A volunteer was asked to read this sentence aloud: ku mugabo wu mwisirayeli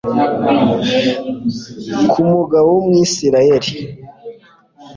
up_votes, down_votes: 2, 0